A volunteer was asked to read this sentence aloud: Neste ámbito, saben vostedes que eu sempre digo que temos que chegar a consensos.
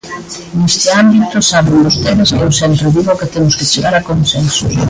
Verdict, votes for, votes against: rejected, 0, 2